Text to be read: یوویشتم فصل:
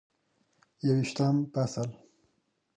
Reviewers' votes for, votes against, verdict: 3, 0, accepted